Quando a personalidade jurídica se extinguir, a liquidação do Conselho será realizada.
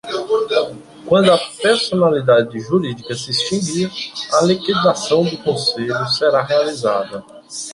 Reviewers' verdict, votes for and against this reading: rejected, 0, 2